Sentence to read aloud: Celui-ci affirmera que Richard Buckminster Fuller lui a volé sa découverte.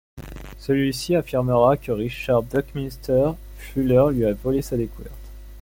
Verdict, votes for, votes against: accepted, 2, 0